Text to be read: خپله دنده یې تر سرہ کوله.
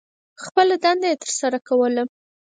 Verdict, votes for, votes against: accepted, 4, 2